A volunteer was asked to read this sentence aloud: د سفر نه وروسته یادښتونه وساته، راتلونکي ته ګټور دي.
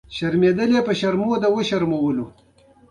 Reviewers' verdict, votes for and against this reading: accepted, 2, 1